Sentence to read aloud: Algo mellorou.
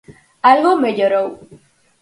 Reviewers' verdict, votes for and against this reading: accepted, 4, 0